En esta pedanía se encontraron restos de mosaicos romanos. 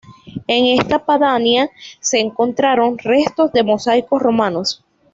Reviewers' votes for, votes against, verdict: 1, 2, rejected